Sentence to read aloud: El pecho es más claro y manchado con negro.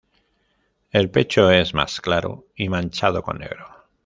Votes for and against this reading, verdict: 2, 1, accepted